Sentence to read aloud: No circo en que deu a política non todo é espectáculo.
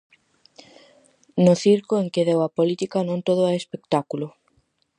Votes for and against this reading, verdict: 4, 0, accepted